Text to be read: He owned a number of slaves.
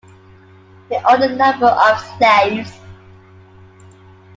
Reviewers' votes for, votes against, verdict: 2, 0, accepted